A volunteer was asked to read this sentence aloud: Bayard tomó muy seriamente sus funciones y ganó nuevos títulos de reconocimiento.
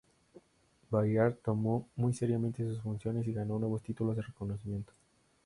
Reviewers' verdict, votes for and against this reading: accepted, 2, 0